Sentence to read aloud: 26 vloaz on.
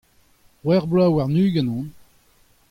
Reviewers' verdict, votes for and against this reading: rejected, 0, 2